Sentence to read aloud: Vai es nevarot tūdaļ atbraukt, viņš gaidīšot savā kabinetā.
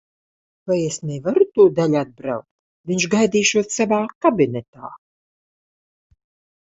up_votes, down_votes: 0, 2